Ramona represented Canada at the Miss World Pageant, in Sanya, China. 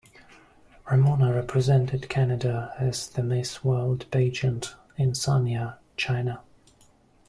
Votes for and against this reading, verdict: 0, 2, rejected